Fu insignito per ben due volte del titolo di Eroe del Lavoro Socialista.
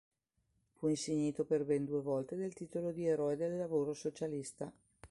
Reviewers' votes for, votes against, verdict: 2, 0, accepted